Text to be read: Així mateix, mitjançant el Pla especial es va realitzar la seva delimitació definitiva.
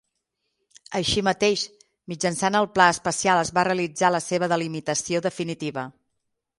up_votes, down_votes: 6, 0